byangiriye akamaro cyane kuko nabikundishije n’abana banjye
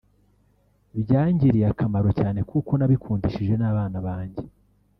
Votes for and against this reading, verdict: 1, 2, rejected